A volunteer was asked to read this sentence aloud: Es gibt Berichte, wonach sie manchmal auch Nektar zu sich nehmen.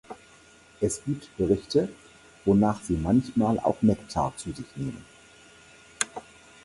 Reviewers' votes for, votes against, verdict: 4, 0, accepted